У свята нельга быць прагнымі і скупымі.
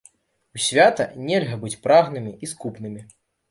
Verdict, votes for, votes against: rejected, 0, 2